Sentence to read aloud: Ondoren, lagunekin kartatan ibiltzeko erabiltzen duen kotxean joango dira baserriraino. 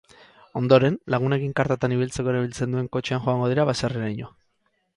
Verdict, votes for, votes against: accepted, 4, 0